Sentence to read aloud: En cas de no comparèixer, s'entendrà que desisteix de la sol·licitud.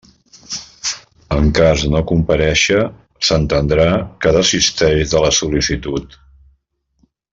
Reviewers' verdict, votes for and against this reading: rejected, 0, 2